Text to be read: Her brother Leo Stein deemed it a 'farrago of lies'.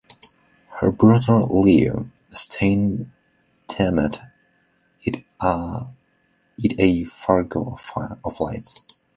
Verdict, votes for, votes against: rejected, 1, 3